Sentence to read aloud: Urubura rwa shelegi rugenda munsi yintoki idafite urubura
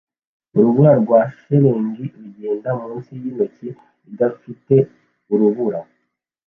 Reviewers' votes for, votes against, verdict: 2, 0, accepted